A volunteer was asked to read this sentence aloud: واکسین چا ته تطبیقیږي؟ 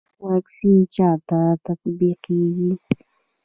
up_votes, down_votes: 2, 0